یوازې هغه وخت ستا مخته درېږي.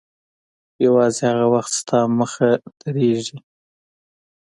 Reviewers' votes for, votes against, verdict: 2, 0, accepted